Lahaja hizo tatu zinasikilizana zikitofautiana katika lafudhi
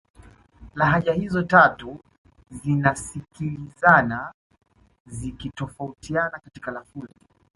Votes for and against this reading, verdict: 2, 1, accepted